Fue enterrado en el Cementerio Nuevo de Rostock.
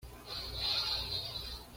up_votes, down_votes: 1, 2